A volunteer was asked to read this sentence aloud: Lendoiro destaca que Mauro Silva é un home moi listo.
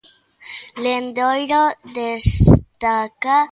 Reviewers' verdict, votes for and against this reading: rejected, 0, 2